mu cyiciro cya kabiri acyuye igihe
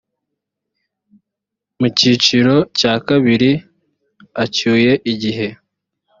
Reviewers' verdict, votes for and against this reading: accepted, 2, 0